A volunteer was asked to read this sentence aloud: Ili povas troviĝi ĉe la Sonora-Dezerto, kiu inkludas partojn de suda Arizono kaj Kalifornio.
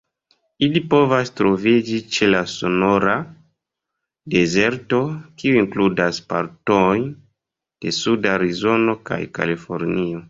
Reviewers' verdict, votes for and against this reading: rejected, 1, 2